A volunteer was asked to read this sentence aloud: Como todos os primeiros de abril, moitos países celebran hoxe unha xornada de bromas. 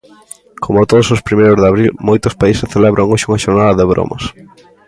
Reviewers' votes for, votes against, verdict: 2, 0, accepted